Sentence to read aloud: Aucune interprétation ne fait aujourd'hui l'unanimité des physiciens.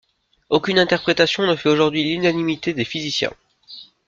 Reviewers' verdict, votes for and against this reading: accepted, 2, 0